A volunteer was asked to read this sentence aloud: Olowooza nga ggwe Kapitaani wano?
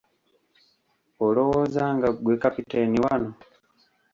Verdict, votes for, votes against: rejected, 0, 2